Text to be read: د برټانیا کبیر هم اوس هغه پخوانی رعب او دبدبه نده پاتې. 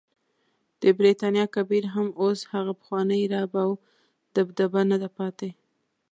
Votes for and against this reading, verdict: 2, 0, accepted